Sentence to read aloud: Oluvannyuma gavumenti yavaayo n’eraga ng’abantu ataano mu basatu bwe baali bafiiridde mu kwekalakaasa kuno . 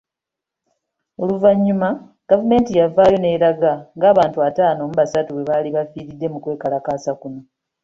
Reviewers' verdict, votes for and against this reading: accepted, 2, 0